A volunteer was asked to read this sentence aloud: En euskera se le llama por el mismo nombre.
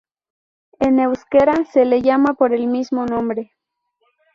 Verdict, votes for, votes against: accepted, 2, 0